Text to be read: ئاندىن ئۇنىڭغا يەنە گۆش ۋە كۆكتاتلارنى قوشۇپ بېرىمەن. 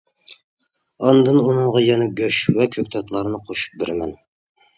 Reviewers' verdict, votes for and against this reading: accepted, 2, 0